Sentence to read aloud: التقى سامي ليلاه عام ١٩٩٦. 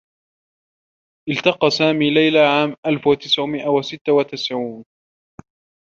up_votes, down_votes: 0, 2